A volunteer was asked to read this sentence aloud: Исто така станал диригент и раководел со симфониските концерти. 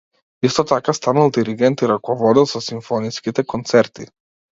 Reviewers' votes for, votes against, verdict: 2, 0, accepted